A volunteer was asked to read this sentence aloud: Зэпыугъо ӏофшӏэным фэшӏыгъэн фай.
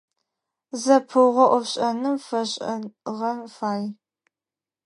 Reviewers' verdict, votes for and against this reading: rejected, 2, 4